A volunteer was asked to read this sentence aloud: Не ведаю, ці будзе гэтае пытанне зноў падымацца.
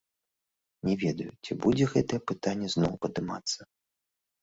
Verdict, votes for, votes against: rejected, 1, 2